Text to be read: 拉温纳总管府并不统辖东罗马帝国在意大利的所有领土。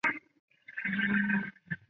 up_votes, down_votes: 0, 3